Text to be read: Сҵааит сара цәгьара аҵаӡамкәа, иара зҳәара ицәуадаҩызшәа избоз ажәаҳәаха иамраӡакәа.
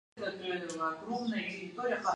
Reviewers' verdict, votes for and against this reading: rejected, 0, 2